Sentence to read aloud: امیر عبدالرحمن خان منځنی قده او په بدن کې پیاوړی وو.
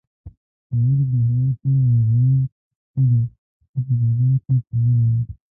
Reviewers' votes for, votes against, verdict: 0, 2, rejected